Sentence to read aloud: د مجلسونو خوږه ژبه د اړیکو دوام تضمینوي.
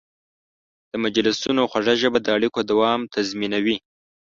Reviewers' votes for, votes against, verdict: 4, 0, accepted